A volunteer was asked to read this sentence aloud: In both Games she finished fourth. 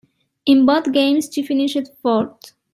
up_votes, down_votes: 2, 0